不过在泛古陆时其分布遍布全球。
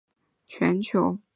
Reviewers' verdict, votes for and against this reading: rejected, 0, 3